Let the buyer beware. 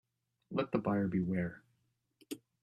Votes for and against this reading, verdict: 1, 2, rejected